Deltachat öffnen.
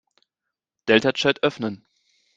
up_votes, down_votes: 2, 0